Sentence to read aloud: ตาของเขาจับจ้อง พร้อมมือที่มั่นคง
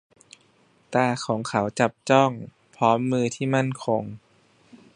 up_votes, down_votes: 2, 0